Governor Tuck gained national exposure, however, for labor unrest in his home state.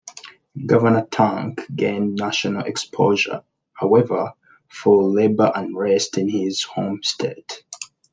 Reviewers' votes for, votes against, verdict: 2, 0, accepted